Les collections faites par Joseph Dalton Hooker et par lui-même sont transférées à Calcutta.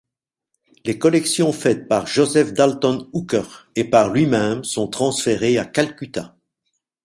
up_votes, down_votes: 2, 0